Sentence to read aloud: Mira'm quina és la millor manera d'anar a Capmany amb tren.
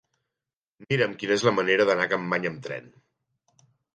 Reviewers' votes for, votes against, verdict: 1, 2, rejected